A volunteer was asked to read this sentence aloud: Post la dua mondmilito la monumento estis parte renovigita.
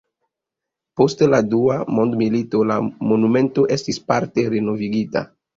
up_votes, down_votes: 2, 0